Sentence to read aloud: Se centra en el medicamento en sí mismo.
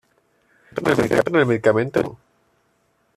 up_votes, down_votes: 0, 2